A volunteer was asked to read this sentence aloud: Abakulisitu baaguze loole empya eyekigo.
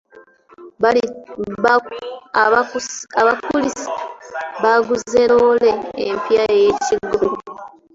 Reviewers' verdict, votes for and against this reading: rejected, 0, 3